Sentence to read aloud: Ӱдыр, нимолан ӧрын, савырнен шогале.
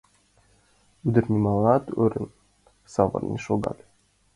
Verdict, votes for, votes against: accepted, 2, 1